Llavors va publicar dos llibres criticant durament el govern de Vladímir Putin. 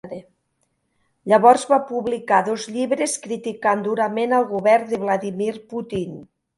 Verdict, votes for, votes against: accepted, 2, 0